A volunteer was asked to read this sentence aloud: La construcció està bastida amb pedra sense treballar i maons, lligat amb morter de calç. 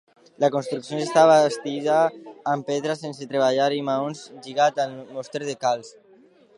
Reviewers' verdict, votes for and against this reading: rejected, 0, 2